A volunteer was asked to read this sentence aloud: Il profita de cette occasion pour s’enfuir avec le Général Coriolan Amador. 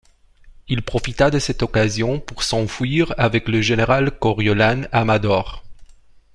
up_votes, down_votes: 2, 0